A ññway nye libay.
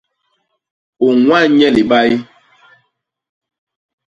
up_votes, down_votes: 1, 2